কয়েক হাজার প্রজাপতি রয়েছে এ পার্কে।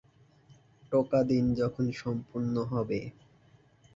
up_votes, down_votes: 9, 23